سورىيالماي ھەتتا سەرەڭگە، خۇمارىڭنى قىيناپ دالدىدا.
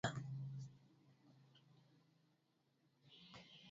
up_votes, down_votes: 0, 2